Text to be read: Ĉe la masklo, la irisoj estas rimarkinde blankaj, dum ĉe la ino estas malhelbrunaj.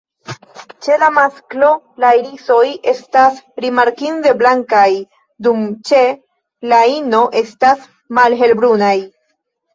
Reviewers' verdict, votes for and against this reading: rejected, 1, 2